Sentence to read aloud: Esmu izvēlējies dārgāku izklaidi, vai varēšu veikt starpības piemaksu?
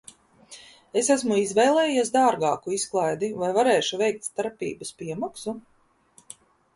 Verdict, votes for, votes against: rejected, 0, 2